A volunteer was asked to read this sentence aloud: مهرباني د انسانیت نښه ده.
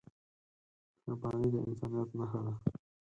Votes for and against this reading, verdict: 0, 4, rejected